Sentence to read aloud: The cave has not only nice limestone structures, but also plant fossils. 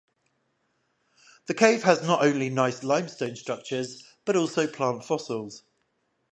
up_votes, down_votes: 5, 0